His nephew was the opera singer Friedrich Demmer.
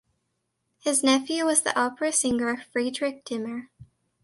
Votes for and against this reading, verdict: 2, 0, accepted